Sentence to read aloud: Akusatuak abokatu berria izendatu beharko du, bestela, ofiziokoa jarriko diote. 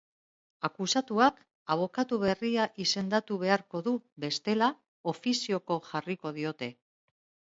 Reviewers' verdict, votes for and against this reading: rejected, 0, 2